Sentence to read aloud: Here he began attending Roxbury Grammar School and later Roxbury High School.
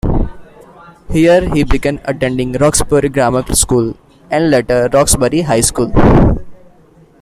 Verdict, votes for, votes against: accepted, 2, 0